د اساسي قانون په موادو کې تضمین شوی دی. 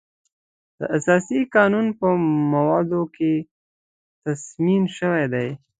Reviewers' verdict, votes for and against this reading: accepted, 2, 0